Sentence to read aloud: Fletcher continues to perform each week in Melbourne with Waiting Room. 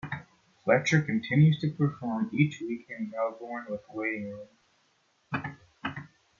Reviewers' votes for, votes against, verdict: 2, 0, accepted